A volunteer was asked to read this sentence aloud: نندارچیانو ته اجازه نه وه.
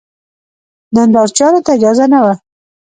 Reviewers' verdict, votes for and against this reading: accepted, 2, 0